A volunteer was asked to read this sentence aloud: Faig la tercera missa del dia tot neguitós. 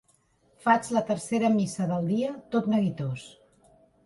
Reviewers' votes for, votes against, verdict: 3, 0, accepted